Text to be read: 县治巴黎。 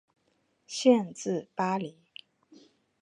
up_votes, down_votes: 4, 0